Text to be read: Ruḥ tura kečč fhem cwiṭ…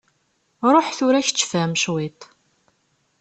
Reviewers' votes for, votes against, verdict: 2, 0, accepted